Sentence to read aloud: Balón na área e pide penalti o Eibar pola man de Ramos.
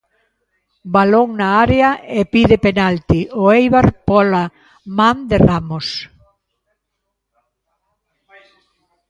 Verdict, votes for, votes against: rejected, 1, 2